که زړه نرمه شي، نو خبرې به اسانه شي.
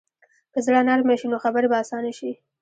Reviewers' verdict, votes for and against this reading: rejected, 1, 2